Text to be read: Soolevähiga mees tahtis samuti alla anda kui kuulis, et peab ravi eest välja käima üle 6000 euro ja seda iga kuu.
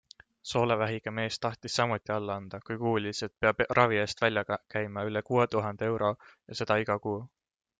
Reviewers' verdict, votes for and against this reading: rejected, 0, 2